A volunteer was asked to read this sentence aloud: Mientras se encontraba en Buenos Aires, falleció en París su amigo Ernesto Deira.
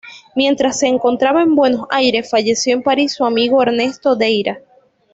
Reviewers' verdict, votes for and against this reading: accepted, 2, 0